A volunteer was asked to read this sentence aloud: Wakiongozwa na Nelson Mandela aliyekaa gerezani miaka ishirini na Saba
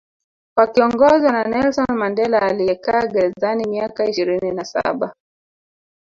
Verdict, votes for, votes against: accepted, 2, 0